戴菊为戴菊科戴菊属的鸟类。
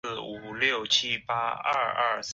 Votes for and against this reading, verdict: 0, 2, rejected